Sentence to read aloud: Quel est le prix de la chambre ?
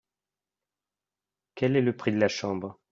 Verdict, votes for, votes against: accepted, 2, 0